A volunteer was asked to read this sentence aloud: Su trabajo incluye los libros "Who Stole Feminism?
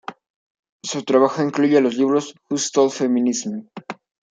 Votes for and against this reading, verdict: 2, 1, accepted